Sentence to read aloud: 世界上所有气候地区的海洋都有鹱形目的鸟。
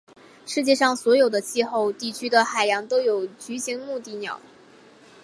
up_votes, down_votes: 0, 3